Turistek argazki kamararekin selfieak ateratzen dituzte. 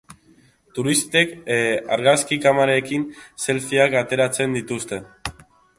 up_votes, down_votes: 0, 2